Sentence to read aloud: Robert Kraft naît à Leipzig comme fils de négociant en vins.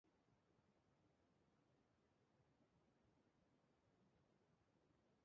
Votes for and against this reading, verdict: 0, 2, rejected